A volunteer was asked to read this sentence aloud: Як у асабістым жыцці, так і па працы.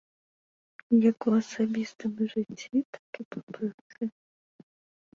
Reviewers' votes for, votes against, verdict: 1, 2, rejected